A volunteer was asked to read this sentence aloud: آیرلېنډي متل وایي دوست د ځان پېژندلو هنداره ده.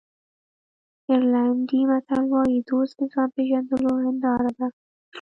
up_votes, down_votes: 0, 2